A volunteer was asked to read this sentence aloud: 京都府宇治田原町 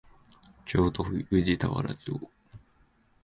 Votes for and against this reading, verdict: 6, 1, accepted